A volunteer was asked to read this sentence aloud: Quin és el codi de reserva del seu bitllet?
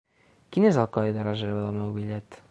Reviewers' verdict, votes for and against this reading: rejected, 0, 2